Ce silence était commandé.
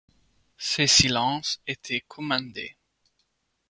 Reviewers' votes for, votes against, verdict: 2, 0, accepted